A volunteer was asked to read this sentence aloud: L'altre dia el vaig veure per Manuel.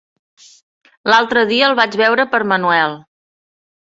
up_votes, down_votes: 3, 0